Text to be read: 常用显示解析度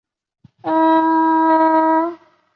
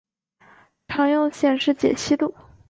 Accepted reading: second